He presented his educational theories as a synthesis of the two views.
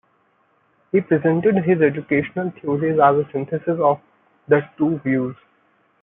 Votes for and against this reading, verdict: 1, 2, rejected